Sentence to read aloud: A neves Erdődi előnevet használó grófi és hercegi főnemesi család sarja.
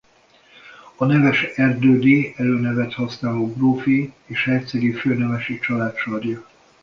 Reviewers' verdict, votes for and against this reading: rejected, 1, 2